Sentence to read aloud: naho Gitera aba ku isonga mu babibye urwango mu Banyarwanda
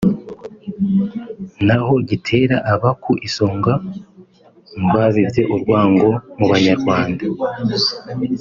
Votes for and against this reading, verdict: 4, 0, accepted